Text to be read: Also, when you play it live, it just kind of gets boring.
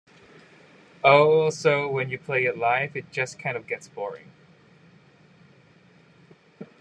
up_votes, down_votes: 2, 0